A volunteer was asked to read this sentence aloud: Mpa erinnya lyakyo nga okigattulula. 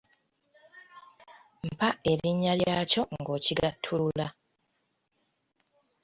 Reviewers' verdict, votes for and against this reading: accepted, 2, 0